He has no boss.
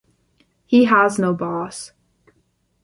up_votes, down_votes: 2, 0